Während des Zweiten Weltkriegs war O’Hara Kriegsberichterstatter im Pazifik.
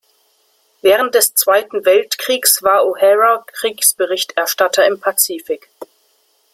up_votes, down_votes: 2, 0